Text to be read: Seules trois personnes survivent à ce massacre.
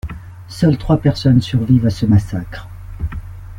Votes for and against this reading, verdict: 0, 2, rejected